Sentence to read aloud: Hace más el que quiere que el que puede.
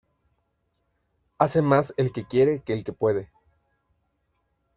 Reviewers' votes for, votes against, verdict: 2, 0, accepted